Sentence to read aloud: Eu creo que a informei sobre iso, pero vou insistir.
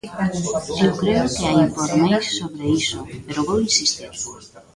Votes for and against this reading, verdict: 0, 2, rejected